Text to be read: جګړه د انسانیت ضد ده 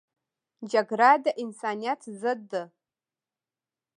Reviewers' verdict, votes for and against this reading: rejected, 1, 2